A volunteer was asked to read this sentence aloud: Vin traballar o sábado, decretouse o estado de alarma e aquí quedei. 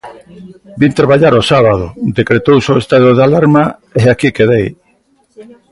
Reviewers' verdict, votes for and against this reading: accepted, 2, 0